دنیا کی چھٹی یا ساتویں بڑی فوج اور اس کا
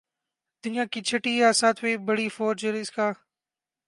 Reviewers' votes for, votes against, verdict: 6, 0, accepted